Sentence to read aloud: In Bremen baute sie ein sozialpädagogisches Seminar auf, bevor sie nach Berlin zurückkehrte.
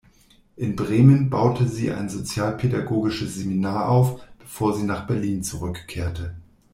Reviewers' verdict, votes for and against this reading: accepted, 2, 0